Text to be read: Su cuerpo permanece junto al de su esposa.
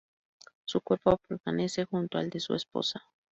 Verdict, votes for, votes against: accepted, 4, 0